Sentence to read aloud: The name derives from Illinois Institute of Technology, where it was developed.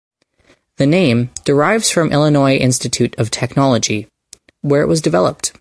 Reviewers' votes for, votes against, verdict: 2, 0, accepted